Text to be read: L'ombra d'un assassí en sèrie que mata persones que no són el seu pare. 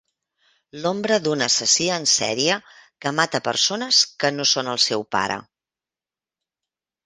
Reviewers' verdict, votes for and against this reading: accepted, 2, 0